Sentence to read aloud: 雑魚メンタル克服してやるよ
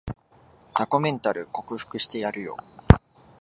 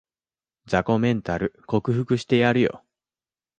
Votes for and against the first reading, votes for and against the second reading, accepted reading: 2, 0, 1, 2, first